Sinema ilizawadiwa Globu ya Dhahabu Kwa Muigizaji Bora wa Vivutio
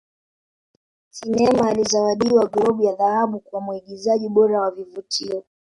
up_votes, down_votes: 2, 0